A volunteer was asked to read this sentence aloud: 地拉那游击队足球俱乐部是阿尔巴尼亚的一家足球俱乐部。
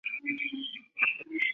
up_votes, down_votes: 0, 2